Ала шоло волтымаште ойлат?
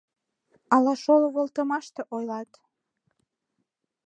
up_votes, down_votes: 2, 0